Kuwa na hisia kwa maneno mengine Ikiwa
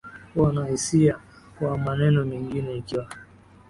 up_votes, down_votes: 2, 0